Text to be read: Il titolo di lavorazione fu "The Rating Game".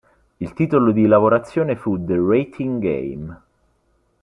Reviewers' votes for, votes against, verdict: 2, 0, accepted